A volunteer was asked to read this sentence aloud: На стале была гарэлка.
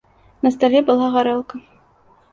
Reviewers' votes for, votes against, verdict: 2, 0, accepted